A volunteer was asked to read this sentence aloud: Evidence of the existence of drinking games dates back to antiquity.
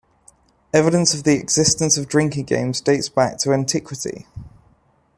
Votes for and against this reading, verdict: 2, 0, accepted